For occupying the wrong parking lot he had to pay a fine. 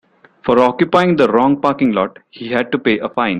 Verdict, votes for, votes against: accepted, 2, 0